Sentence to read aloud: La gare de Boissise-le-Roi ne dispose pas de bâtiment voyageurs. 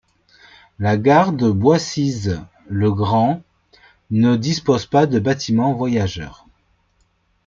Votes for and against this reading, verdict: 1, 2, rejected